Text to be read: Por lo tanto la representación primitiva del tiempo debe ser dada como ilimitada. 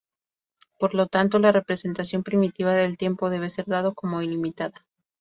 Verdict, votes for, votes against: rejected, 0, 2